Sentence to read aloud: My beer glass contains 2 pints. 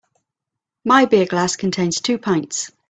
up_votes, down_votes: 0, 2